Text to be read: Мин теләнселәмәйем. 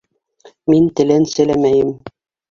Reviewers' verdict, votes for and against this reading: accepted, 2, 0